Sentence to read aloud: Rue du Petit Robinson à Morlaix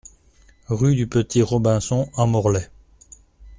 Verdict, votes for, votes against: accepted, 2, 0